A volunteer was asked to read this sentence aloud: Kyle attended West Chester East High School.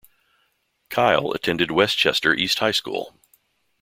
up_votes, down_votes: 2, 0